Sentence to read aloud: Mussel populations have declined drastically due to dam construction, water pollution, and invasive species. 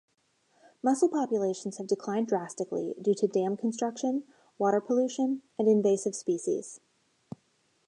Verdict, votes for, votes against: accepted, 2, 0